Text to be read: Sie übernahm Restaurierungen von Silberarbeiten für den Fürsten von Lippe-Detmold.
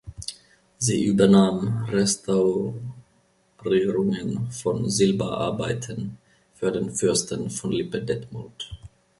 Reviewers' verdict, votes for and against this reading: rejected, 1, 2